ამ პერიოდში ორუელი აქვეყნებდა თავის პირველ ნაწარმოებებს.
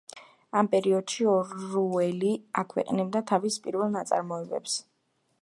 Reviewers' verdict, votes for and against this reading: accepted, 2, 0